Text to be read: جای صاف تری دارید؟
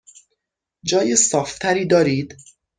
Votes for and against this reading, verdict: 6, 0, accepted